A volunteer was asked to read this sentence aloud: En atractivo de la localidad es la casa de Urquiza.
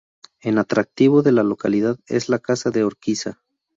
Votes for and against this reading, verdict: 4, 0, accepted